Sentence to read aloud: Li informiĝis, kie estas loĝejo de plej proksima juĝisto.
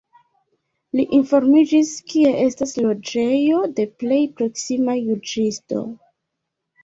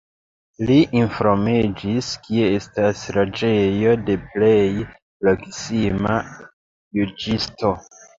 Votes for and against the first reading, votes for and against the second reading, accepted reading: 2, 1, 0, 2, first